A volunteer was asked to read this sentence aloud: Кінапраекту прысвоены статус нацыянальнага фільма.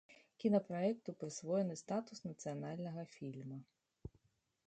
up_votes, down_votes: 0, 2